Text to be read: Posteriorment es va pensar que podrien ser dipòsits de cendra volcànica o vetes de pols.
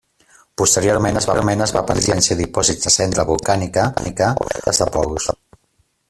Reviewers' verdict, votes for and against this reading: rejected, 0, 2